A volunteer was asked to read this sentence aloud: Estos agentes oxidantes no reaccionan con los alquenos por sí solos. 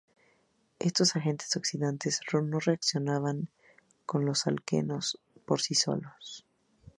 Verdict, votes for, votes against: accepted, 2, 0